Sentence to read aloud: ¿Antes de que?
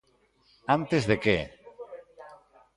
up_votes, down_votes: 2, 0